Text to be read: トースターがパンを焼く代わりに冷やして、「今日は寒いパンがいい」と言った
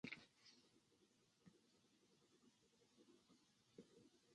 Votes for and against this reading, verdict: 0, 2, rejected